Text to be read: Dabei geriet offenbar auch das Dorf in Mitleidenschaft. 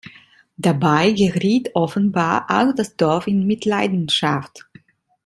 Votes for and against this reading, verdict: 1, 3, rejected